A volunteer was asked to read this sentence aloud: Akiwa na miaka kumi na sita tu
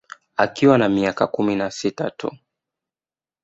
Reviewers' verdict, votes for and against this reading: accepted, 2, 0